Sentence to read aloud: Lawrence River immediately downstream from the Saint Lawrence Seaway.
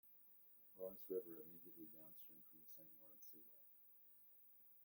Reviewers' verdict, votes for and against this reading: rejected, 0, 2